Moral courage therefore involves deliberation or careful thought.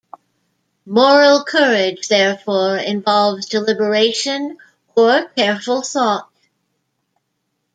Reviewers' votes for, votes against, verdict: 2, 1, accepted